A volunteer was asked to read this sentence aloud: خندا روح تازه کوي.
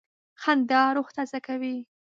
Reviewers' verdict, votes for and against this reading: accepted, 2, 0